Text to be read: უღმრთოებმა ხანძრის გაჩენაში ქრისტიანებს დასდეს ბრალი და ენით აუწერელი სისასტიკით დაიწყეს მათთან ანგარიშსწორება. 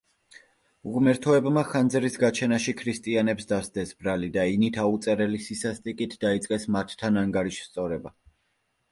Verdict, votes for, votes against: rejected, 1, 2